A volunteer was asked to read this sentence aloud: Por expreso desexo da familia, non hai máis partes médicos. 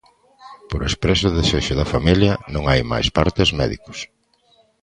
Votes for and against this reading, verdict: 2, 0, accepted